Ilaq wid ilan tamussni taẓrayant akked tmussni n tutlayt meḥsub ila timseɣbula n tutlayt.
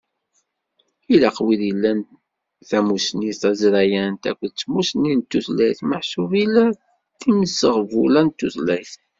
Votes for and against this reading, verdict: 2, 1, accepted